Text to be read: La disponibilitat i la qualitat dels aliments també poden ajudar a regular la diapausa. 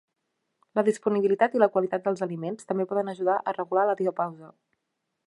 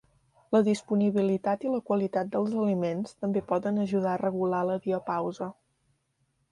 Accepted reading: second